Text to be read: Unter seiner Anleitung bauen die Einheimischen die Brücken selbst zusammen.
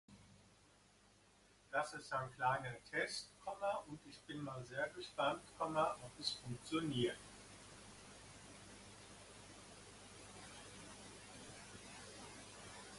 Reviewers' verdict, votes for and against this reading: rejected, 0, 2